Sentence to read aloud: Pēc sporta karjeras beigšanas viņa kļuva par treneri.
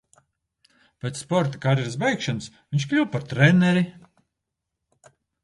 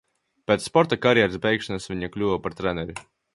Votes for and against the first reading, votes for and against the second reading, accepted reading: 0, 2, 2, 0, second